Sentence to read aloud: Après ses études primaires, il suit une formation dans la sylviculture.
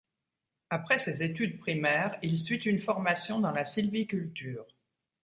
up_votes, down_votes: 2, 0